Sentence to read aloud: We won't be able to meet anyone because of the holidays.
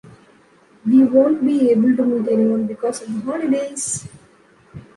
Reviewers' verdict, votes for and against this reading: accepted, 2, 0